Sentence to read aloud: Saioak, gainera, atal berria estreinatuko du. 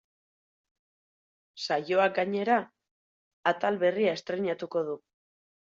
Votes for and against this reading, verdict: 4, 0, accepted